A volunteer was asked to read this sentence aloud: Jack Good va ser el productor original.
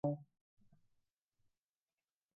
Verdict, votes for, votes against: rejected, 1, 2